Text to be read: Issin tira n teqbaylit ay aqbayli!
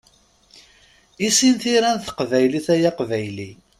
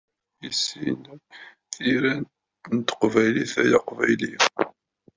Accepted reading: first